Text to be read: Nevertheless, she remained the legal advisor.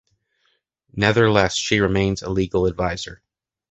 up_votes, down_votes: 1, 2